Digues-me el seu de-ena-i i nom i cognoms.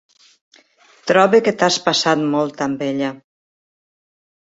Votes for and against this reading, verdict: 0, 3, rejected